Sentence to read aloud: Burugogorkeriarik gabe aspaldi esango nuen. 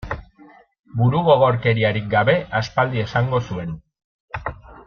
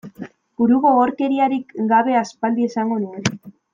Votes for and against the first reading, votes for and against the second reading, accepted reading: 0, 2, 2, 0, second